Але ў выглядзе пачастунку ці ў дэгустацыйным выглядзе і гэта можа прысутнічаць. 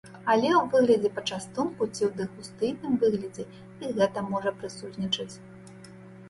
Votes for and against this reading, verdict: 0, 2, rejected